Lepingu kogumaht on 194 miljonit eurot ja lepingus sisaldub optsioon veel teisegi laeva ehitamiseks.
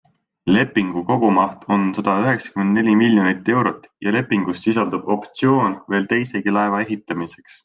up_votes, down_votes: 0, 2